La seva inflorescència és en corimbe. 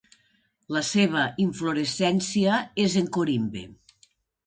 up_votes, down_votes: 2, 0